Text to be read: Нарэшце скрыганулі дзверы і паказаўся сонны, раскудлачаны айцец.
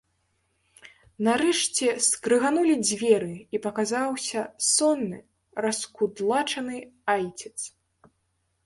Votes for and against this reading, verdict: 0, 2, rejected